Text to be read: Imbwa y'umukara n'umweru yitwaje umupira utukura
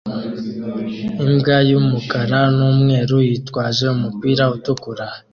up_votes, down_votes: 2, 0